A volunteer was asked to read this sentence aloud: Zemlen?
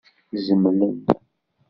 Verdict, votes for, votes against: accepted, 2, 0